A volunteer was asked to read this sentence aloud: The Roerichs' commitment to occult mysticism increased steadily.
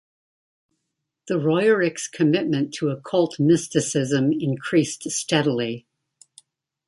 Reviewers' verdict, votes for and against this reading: rejected, 1, 2